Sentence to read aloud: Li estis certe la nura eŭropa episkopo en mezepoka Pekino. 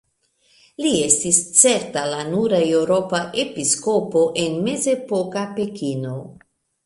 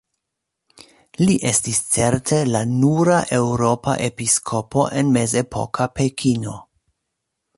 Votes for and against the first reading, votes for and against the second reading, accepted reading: 0, 2, 2, 0, second